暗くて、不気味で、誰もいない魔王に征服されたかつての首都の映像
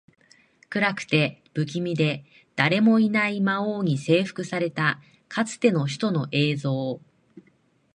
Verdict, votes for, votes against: accepted, 2, 0